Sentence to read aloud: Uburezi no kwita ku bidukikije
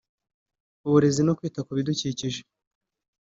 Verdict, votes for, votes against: accepted, 3, 0